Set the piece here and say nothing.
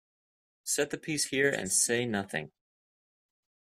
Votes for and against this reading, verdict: 2, 0, accepted